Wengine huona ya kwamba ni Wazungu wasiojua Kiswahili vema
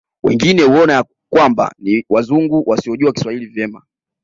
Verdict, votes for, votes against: accepted, 2, 0